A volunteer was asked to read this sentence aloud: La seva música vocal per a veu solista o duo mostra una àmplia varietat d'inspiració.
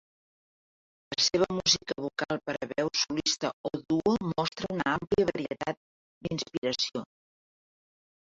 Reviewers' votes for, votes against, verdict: 2, 3, rejected